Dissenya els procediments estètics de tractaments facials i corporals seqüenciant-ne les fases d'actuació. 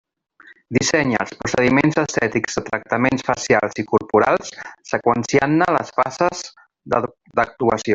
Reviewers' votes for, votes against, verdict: 0, 2, rejected